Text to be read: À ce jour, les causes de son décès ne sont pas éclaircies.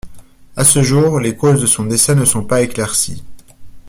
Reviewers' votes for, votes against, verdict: 1, 2, rejected